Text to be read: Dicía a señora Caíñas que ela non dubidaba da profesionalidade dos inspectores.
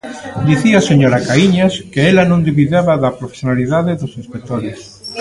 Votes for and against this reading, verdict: 2, 0, accepted